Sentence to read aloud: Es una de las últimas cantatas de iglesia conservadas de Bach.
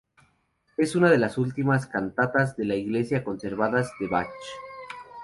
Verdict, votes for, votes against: rejected, 0, 2